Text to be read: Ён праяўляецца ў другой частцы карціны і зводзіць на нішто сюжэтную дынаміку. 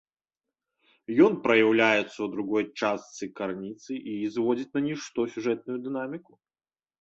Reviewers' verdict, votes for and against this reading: rejected, 0, 2